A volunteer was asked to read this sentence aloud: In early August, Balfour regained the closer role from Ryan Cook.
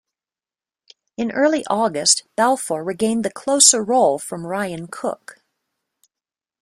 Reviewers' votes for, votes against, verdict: 2, 0, accepted